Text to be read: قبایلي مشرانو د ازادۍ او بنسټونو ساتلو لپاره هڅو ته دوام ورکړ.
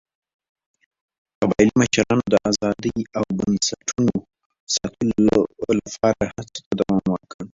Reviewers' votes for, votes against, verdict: 1, 2, rejected